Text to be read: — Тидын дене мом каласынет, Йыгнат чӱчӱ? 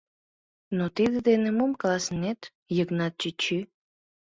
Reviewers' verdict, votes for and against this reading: rejected, 2, 3